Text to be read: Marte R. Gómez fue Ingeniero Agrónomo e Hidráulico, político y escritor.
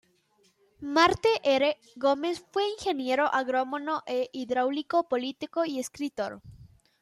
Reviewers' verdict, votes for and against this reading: rejected, 0, 2